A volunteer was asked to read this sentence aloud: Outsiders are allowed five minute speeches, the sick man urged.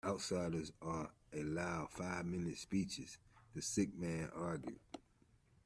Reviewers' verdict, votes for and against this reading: rejected, 1, 2